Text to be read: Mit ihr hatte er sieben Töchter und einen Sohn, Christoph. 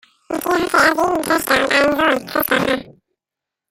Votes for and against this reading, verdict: 0, 2, rejected